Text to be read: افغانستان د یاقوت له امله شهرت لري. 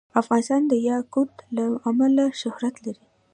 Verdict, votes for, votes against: accepted, 2, 0